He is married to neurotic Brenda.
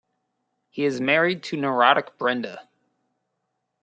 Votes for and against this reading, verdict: 2, 0, accepted